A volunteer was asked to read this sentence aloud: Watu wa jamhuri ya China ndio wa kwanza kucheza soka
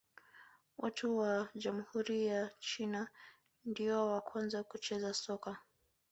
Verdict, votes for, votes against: rejected, 1, 3